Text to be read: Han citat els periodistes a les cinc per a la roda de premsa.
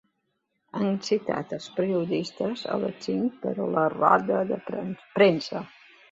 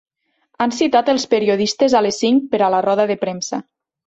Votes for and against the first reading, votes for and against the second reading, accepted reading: 1, 2, 4, 0, second